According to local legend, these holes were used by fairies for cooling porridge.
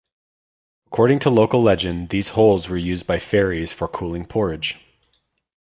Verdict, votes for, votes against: accepted, 2, 0